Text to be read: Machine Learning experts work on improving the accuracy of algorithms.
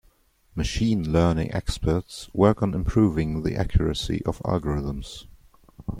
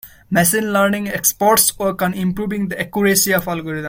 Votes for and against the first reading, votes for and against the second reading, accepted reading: 2, 0, 0, 2, first